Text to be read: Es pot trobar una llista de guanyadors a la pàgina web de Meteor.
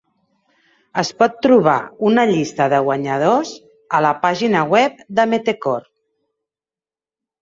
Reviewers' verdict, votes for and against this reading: rejected, 0, 2